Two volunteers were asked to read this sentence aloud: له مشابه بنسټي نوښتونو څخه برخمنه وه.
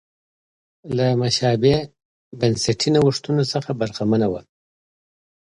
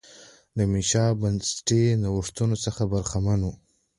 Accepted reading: first